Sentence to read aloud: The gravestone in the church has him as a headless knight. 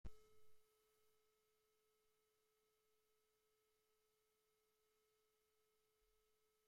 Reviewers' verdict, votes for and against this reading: rejected, 0, 2